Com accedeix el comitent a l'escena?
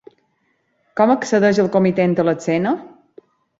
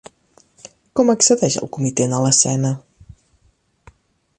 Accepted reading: second